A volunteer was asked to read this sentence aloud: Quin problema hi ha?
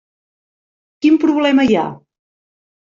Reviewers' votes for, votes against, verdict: 3, 0, accepted